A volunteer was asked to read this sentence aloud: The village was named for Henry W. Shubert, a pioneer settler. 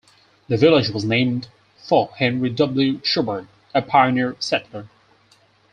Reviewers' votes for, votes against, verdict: 4, 0, accepted